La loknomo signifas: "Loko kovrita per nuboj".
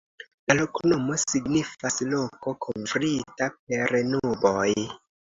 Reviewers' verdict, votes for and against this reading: accepted, 2, 0